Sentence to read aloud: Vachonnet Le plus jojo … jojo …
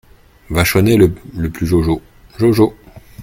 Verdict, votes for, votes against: rejected, 1, 2